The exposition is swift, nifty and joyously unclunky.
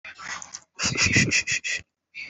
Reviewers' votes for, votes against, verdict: 0, 2, rejected